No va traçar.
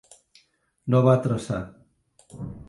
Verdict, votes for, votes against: accepted, 3, 0